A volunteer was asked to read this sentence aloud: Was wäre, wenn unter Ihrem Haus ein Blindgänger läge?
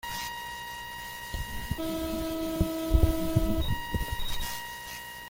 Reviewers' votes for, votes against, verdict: 0, 2, rejected